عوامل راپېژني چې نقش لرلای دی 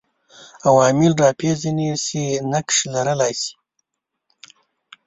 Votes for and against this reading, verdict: 1, 2, rejected